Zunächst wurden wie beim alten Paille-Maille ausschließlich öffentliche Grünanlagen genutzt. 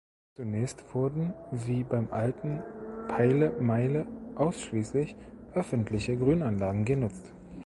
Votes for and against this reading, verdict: 1, 3, rejected